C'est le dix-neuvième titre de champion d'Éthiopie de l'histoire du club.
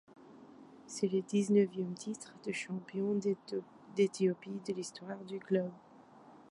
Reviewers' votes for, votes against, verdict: 0, 2, rejected